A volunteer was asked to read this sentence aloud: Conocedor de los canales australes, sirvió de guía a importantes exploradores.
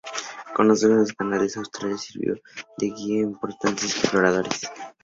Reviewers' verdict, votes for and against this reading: accepted, 2, 0